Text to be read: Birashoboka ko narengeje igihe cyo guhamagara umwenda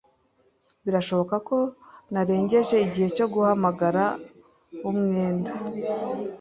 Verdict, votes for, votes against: accepted, 2, 0